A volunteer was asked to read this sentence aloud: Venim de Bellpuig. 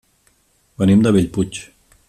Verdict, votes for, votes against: accepted, 2, 0